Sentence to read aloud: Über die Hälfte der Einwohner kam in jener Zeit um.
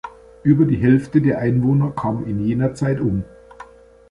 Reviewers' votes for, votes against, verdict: 2, 1, accepted